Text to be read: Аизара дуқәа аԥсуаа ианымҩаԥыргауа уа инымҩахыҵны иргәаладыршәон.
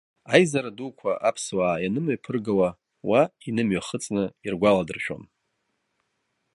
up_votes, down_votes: 2, 0